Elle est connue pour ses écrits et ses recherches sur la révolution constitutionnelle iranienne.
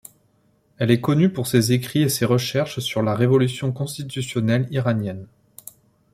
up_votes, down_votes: 2, 0